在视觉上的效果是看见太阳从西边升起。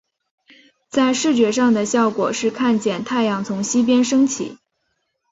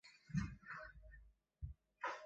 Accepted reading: first